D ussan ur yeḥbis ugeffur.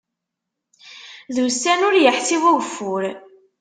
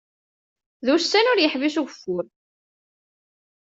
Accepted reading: second